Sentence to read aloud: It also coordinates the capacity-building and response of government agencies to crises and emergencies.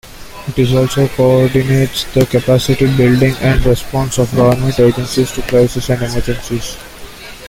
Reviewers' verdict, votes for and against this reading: rejected, 1, 2